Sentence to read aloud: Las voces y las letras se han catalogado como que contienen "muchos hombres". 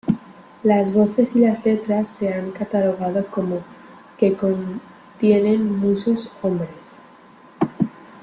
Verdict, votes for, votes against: rejected, 0, 2